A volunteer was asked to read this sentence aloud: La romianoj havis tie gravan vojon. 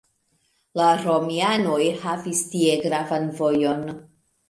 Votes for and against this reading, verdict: 2, 0, accepted